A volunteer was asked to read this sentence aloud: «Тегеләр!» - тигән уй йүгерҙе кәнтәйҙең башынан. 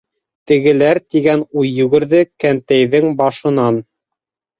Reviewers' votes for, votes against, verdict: 2, 0, accepted